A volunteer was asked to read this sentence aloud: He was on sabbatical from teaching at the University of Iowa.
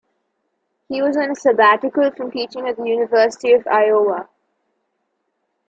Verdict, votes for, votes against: accepted, 2, 1